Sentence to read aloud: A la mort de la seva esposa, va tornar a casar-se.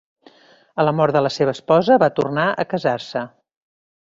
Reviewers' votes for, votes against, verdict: 2, 0, accepted